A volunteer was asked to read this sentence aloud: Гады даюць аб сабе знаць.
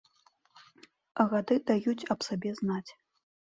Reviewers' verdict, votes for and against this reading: accepted, 2, 0